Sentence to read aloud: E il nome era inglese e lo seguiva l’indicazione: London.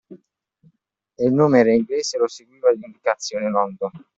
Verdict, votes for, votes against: accepted, 2, 0